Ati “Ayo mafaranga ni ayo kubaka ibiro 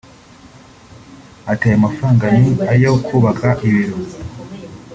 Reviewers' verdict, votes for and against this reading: accepted, 2, 0